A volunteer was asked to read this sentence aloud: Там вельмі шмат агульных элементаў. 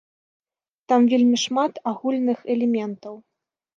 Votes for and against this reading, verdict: 2, 0, accepted